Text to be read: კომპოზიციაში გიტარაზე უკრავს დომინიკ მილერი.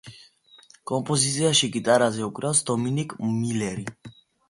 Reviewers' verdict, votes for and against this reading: accepted, 2, 1